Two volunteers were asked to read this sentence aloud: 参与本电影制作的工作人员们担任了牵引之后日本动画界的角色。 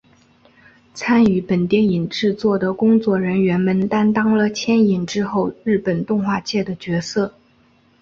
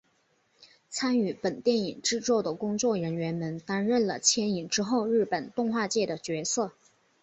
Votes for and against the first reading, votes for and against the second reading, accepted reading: 1, 2, 7, 1, second